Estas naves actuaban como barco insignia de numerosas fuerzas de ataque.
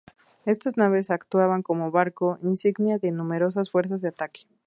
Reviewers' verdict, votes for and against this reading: accepted, 4, 0